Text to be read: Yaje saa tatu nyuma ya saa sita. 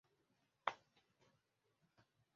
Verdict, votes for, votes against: rejected, 0, 2